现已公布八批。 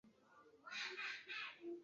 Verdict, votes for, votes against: rejected, 0, 4